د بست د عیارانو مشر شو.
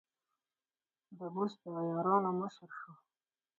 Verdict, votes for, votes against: rejected, 2, 4